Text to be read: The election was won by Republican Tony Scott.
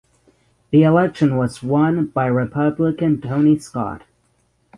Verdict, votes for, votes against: accepted, 6, 0